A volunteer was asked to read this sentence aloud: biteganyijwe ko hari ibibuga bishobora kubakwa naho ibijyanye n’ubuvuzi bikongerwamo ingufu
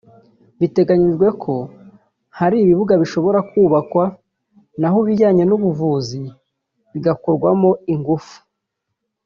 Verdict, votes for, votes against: rejected, 0, 2